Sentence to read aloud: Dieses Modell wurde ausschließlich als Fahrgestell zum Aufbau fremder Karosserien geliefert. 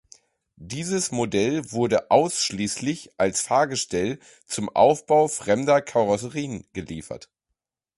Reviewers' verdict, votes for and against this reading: accepted, 2, 0